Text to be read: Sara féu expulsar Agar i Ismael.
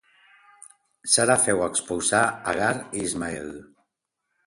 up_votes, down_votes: 3, 0